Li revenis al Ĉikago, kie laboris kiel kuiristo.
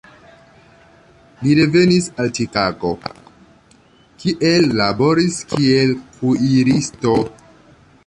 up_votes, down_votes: 1, 2